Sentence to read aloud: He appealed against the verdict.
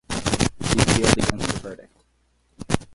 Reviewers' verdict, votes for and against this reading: rejected, 2, 4